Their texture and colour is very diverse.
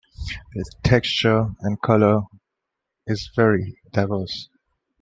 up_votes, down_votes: 1, 2